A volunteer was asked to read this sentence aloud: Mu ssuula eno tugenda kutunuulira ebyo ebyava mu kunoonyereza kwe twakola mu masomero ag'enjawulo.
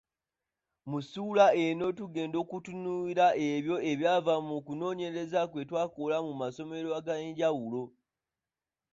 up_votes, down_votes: 1, 2